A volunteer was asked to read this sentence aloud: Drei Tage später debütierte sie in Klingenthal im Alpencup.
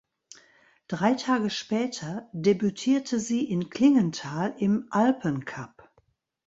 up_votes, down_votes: 2, 0